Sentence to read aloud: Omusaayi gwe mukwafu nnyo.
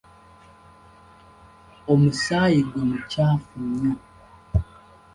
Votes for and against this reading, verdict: 1, 2, rejected